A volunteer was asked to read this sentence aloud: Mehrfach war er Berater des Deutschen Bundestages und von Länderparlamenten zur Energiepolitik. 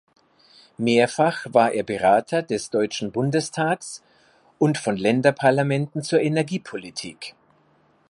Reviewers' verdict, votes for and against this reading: rejected, 2, 3